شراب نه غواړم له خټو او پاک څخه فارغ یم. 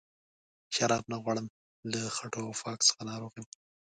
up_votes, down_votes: 1, 2